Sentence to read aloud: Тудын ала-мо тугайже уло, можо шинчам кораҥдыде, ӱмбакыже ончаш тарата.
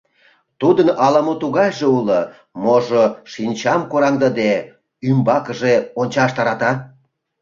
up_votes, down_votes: 2, 0